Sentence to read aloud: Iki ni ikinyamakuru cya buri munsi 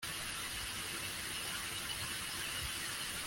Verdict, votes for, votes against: rejected, 0, 2